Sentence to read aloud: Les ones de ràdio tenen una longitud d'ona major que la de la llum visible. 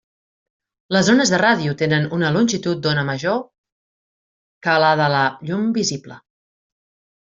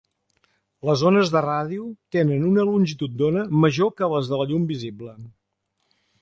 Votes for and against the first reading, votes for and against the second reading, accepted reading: 2, 0, 1, 2, first